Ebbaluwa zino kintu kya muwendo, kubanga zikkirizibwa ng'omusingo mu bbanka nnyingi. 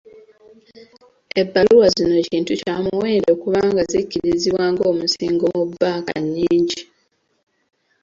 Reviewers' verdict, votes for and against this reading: rejected, 0, 2